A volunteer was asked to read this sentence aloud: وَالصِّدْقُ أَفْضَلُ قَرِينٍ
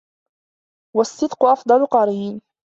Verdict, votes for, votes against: accepted, 2, 0